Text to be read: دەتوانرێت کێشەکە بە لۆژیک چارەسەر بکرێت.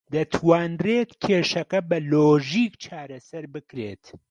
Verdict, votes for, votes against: accepted, 3, 0